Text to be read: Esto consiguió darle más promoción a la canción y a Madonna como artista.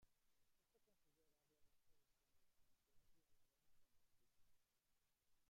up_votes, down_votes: 0, 2